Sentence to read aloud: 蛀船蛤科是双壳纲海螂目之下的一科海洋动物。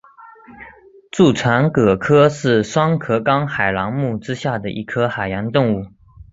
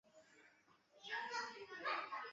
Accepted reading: first